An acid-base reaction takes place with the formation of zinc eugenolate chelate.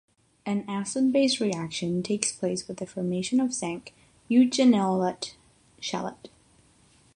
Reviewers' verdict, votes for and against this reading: accepted, 3, 0